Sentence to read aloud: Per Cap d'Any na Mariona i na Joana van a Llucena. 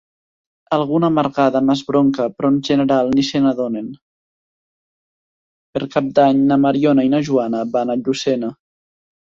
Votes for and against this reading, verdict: 1, 3, rejected